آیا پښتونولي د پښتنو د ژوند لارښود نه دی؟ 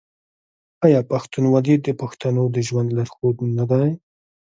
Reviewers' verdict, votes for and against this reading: accepted, 2, 1